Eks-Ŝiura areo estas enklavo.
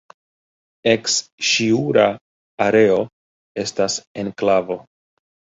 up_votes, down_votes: 2, 0